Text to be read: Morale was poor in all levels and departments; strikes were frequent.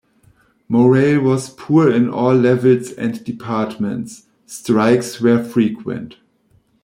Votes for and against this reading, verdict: 2, 1, accepted